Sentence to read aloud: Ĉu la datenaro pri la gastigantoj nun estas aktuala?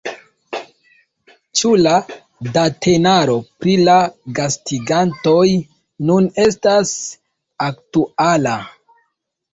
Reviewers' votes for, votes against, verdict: 1, 2, rejected